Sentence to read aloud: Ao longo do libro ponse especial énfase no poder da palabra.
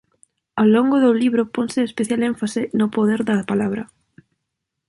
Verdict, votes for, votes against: accepted, 2, 0